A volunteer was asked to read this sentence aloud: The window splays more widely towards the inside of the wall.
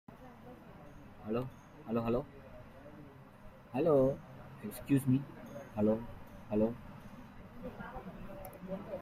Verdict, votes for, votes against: rejected, 0, 2